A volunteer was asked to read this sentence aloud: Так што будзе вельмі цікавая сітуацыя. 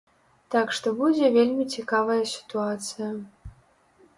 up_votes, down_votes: 3, 0